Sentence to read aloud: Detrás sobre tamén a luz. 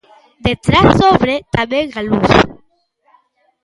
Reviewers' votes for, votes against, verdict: 0, 2, rejected